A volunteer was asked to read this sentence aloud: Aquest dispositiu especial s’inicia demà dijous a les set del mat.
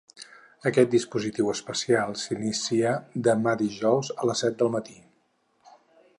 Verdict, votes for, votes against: rejected, 0, 4